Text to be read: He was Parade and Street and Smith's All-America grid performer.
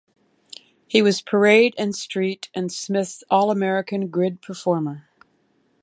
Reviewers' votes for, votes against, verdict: 1, 2, rejected